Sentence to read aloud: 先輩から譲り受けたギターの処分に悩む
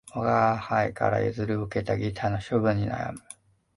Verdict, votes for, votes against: rejected, 1, 2